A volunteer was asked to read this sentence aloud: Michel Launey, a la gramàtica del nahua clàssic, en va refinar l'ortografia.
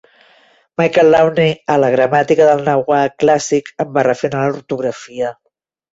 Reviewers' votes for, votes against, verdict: 2, 1, accepted